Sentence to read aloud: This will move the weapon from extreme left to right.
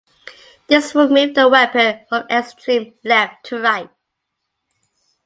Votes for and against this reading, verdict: 3, 1, accepted